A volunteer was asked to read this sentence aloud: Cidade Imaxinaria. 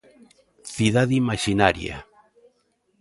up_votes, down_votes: 2, 0